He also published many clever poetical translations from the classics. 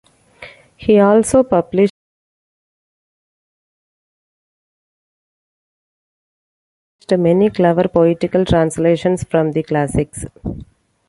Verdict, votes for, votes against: rejected, 0, 2